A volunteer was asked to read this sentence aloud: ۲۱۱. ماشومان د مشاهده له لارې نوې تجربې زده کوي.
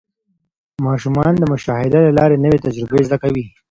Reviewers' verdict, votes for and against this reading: rejected, 0, 2